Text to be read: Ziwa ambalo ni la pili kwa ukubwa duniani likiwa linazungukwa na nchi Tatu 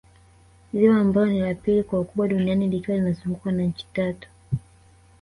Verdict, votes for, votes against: rejected, 1, 2